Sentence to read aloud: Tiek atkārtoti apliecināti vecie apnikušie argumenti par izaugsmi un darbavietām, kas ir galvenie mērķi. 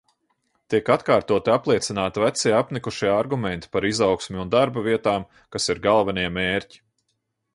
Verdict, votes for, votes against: accepted, 2, 0